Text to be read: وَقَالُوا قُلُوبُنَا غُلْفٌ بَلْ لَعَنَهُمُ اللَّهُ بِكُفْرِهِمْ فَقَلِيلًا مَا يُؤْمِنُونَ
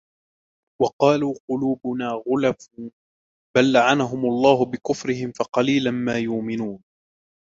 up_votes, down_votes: 1, 2